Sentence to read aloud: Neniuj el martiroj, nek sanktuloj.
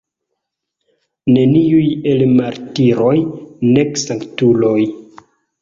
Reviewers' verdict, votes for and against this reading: accepted, 2, 0